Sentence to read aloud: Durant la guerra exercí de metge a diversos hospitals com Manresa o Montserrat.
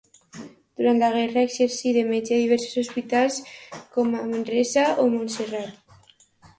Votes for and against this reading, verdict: 2, 0, accepted